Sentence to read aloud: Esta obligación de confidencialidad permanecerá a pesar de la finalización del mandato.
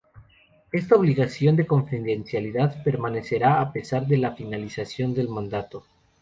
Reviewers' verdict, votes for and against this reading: accepted, 2, 0